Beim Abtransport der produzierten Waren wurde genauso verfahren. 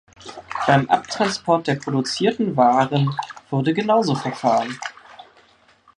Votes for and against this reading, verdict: 1, 2, rejected